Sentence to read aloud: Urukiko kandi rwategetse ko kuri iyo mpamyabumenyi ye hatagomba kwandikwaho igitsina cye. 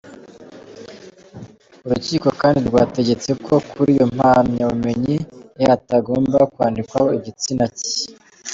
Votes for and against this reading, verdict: 2, 0, accepted